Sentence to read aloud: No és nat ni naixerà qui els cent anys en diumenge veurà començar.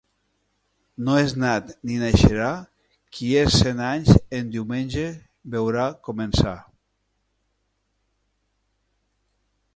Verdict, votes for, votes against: rejected, 0, 2